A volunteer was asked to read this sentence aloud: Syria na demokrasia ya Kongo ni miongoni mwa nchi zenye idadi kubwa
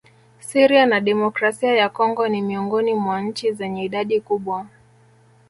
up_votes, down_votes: 0, 2